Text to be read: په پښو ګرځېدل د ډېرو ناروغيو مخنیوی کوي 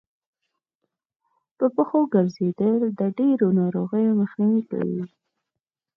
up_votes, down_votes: 4, 0